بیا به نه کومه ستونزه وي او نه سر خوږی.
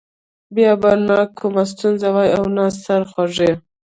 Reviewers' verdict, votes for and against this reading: rejected, 1, 2